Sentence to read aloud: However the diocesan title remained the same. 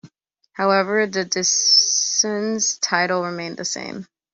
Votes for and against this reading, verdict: 0, 2, rejected